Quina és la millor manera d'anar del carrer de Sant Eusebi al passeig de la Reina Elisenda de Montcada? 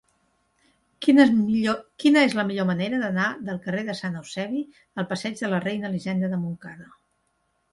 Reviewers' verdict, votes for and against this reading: rejected, 0, 2